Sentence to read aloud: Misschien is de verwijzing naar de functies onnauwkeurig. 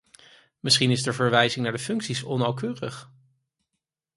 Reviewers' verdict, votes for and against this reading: accepted, 4, 0